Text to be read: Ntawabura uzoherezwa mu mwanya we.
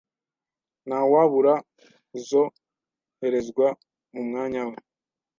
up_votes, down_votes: 2, 0